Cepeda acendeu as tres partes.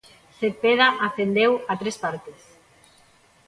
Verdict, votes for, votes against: rejected, 0, 2